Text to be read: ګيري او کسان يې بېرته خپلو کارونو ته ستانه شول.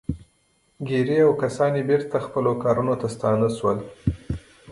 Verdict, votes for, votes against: accepted, 2, 0